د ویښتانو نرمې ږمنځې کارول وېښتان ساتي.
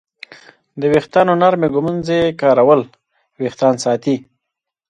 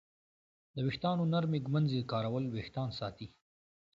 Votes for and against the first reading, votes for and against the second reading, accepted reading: 1, 3, 2, 0, second